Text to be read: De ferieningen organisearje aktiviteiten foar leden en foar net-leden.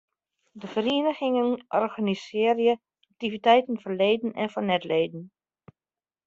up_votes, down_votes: 0, 2